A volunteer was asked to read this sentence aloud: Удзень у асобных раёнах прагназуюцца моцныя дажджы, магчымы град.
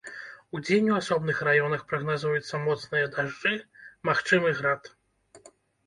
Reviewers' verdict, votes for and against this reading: accepted, 3, 0